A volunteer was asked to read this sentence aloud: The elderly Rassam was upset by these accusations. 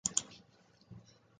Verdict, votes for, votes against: rejected, 0, 2